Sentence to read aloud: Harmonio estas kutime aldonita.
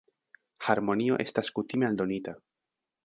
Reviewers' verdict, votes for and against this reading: accepted, 2, 0